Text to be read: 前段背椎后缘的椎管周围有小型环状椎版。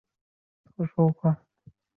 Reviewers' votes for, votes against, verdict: 0, 3, rejected